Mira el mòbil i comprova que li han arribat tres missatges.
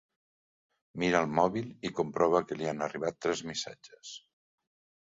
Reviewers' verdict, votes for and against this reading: accepted, 3, 0